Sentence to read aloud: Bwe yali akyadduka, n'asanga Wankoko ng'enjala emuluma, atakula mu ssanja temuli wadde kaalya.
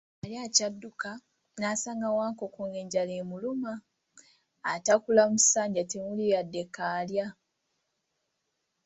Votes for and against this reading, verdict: 2, 0, accepted